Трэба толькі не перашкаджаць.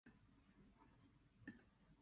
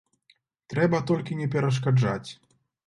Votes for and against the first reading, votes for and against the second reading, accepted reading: 0, 2, 2, 0, second